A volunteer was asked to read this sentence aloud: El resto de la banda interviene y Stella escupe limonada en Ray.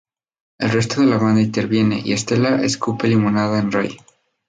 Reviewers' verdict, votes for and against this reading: rejected, 0, 2